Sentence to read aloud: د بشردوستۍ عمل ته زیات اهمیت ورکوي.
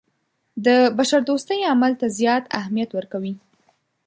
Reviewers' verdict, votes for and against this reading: accepted, 2, 0